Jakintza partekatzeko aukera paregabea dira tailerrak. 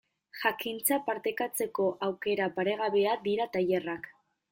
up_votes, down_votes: 1, 2